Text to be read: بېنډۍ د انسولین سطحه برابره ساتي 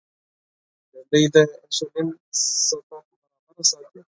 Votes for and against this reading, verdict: 0, 4, rejected